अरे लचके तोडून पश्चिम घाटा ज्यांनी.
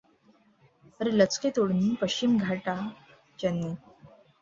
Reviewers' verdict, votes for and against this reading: rejected, 1, 2